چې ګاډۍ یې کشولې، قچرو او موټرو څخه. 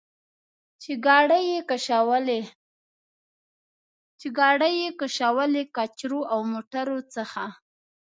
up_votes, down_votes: 1, 2